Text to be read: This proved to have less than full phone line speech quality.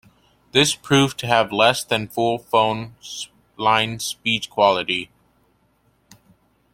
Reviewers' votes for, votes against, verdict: 0, 2, rejected